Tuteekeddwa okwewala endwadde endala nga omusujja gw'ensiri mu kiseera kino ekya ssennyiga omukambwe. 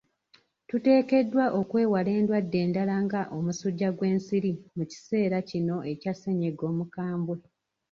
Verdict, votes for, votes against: accepted, 3, 1